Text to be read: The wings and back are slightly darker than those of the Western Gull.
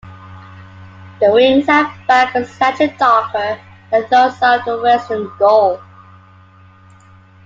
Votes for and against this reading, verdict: 2, 1, accepted